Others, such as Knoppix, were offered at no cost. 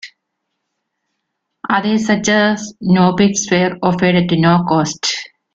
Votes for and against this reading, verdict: 2, 0, accepted